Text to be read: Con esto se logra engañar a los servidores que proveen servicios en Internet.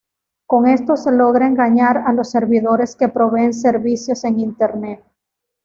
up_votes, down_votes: 2, 0